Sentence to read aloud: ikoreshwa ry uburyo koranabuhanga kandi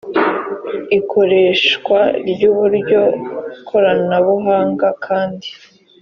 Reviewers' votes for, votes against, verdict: 2, 0, accepted